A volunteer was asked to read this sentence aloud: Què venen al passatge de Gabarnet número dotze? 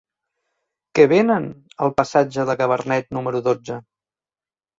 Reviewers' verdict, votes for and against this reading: rejected, 2, 3